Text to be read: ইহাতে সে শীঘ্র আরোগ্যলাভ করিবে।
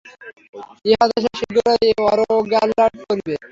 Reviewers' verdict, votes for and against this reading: rejected, 0, 3